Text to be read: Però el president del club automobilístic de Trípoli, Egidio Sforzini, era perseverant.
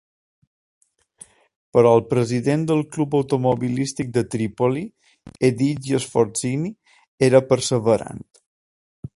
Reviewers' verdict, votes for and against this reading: accepted, 3, 0